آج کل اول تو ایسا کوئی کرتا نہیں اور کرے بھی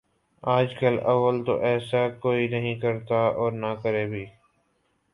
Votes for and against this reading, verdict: 1, 2, rejected